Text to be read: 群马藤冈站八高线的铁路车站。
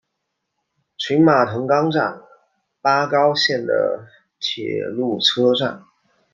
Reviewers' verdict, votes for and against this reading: accepted, 2, 1